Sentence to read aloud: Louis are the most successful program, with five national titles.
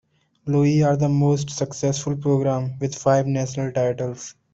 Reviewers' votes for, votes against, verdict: 2, 1, accepted